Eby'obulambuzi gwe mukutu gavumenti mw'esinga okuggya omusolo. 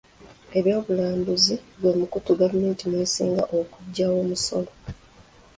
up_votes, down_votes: 2, 0